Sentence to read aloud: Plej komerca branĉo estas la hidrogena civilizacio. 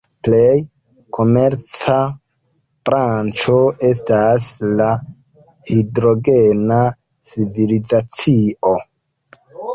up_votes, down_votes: 1, 3